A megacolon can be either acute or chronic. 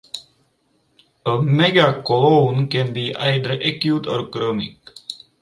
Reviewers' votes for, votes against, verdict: 4, 2, accepted